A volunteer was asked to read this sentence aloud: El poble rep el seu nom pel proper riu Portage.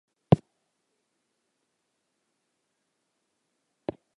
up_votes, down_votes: 0, 2